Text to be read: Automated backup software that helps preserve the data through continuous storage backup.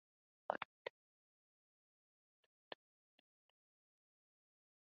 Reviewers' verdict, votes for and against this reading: rejected, 0, 2